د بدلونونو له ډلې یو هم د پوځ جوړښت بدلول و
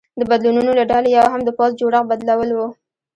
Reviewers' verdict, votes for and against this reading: accepted, 2, 1